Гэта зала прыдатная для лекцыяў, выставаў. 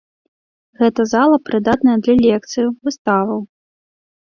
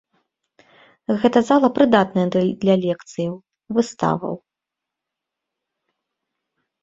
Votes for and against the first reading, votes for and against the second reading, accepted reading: 2, 0, 1, 2, first